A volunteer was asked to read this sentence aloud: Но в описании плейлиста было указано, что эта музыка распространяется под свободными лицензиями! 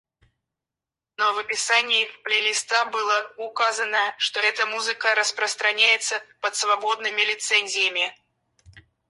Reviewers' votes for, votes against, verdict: 2, 2, rejected